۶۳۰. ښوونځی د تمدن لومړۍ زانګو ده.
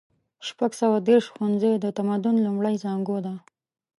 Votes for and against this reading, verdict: 0, 2, rejected